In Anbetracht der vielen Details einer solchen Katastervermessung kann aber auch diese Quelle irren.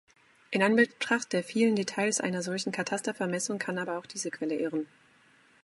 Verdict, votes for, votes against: accepted, 2, 0